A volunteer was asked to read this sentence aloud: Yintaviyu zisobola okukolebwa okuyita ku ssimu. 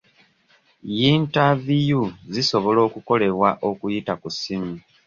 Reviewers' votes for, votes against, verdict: 2, 0, accepted